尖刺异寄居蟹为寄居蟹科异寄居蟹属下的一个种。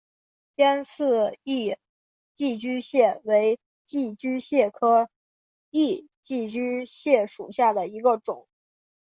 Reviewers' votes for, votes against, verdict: 2, 0, accepted